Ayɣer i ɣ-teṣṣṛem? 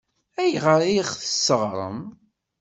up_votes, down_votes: 1, 2